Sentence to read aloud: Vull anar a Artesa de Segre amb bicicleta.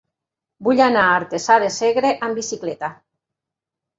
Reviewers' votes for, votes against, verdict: 1, 2, rejected